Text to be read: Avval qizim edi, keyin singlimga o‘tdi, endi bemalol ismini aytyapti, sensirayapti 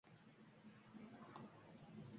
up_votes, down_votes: 0, 2